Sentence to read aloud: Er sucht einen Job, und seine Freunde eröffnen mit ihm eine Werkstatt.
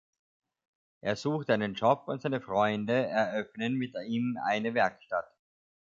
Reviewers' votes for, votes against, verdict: 2, 0, accepted